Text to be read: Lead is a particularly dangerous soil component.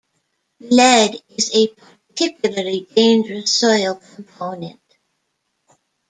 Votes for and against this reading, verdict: 1, 2, rejected